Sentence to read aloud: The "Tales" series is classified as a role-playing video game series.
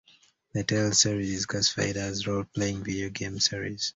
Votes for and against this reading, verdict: 1, 2, rejected